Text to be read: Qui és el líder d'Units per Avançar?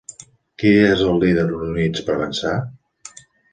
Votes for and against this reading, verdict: 2, 0, accepted